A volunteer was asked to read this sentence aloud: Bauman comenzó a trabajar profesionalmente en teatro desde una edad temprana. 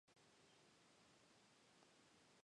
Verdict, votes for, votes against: rejected, 0, 2